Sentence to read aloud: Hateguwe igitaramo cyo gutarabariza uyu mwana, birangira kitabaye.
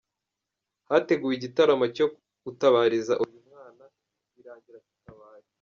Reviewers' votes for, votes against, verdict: 1, 2, rejected